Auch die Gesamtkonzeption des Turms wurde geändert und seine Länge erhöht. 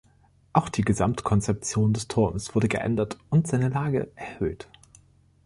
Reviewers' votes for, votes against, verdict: 1, 2, rejected